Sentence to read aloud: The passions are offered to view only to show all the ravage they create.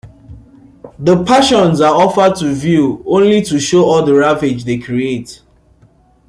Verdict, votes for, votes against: rejected, 0, 2